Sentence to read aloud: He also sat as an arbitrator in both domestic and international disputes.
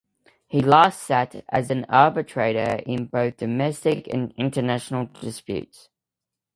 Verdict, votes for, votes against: rejected, 1, 2